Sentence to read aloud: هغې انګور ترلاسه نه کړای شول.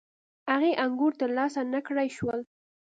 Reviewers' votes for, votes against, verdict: 2, 0, accepted